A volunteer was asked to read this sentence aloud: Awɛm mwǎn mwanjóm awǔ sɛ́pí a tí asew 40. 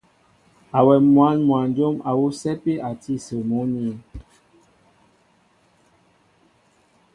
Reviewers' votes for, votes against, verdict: 0, 2, rejected